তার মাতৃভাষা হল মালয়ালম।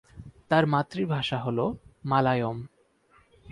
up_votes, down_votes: 16, 22